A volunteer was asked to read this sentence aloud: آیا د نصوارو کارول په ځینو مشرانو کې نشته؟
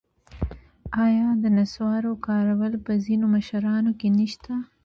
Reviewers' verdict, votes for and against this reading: rejected, 0, 2